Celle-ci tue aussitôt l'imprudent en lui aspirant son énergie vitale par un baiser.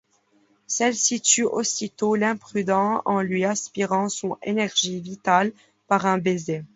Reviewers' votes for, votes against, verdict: 2, 0, accepted